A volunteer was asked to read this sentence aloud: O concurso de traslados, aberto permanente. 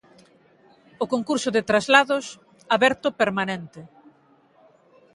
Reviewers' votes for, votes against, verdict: 2, 0, accepted